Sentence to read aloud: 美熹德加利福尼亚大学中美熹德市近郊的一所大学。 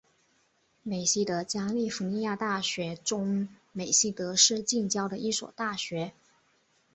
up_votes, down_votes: 3, 3